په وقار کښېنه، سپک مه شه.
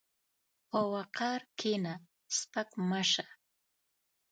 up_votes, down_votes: 1, 2